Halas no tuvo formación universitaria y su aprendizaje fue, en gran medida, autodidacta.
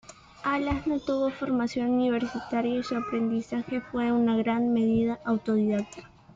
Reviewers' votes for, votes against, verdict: 1, 2, rejected